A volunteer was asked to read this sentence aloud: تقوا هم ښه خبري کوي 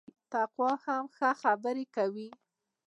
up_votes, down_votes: 0, 2